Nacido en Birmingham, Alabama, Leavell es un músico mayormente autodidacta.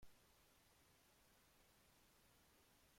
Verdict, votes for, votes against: rejected, 0, 2